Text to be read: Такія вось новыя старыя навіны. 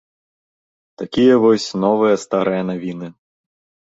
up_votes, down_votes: 2, 1